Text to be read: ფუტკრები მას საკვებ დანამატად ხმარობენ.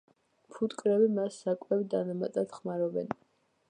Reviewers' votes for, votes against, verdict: 2, 1, accepted